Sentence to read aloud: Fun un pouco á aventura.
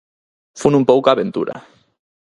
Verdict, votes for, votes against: accepted, 4, 0